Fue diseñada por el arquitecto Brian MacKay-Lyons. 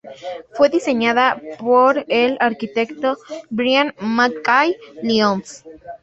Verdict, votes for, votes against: accepted, 2, 0